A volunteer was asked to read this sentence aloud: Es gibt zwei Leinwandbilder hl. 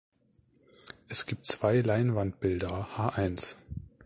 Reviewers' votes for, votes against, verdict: 0, 2, rejected